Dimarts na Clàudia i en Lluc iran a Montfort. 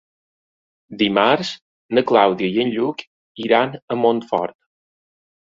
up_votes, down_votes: 3, 0